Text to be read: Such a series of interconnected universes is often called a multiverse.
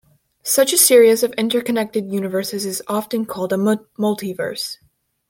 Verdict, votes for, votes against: rejected, 0, 2